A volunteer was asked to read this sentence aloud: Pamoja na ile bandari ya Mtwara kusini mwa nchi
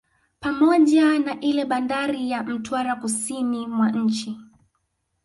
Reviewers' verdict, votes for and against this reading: accepted, 2, 0